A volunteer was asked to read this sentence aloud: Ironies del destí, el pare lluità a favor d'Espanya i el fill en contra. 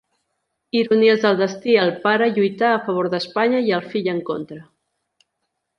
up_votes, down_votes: 2, 0